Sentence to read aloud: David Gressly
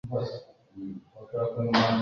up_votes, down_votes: 0, 2